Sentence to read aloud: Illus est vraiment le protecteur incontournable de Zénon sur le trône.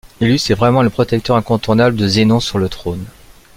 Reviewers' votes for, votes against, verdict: 2, 0, accepted